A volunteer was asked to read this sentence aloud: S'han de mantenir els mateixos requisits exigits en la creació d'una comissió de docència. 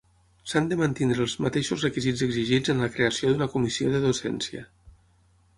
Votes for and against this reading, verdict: 0, 6, rejected